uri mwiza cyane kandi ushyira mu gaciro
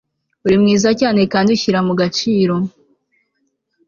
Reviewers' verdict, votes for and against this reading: accepted, 2, 0